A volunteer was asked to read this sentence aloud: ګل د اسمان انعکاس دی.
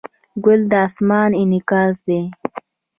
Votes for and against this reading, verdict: 2, 0, accepted